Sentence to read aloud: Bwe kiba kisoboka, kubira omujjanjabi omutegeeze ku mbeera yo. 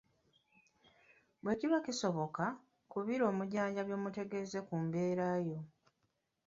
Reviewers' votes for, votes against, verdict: 1, 2, rejected